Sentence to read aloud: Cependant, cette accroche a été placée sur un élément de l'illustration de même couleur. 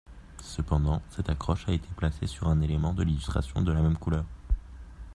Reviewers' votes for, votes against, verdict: 0, 2, rejected